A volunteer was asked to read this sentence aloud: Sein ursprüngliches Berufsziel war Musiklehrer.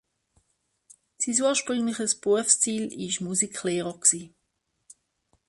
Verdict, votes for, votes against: rejected, 0, 2